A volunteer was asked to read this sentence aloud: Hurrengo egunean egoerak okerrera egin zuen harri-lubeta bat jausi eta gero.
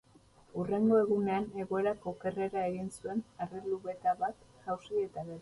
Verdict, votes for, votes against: rejected, 0, 4